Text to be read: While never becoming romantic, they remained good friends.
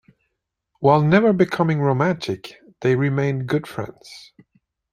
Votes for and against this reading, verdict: 2, 0, accepted